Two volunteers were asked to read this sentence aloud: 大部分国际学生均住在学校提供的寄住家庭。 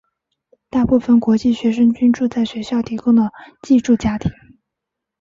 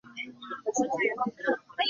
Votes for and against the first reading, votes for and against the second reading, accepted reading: 2, 0, 0, 2, first